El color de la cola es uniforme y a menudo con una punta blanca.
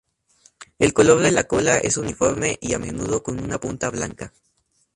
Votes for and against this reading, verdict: 2, 0, accepted